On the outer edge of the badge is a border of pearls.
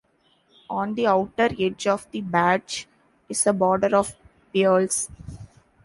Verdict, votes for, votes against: rejected, 1, 2